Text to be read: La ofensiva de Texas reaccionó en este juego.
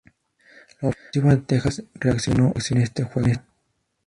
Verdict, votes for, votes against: rejected, 0, 2